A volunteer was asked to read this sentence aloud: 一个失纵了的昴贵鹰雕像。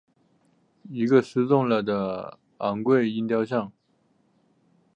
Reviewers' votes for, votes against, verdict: 2, 0, accepted